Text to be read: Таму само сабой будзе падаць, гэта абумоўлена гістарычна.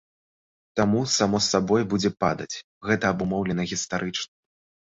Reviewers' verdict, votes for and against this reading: accepted, 2, 0